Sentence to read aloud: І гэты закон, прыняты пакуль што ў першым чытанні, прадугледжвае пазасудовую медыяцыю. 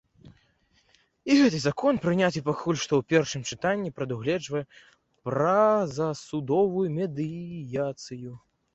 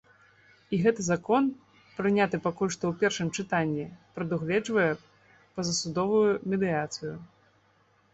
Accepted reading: second